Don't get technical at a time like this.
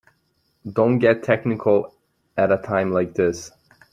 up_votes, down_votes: 3, 0